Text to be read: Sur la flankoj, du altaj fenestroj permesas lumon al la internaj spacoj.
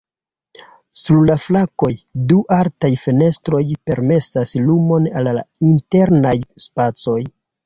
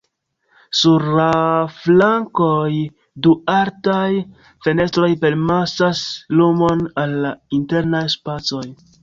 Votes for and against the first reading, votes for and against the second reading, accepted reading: 0, 2, 3, 2, second